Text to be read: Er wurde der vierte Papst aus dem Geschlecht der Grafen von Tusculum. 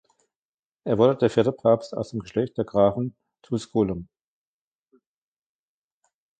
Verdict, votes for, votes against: rejected, 0, 2